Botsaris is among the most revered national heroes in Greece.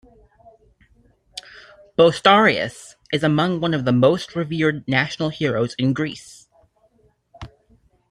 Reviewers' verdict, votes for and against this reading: rejected, 1, 2